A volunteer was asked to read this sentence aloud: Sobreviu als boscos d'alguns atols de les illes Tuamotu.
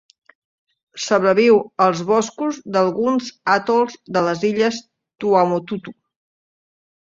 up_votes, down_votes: 1, 2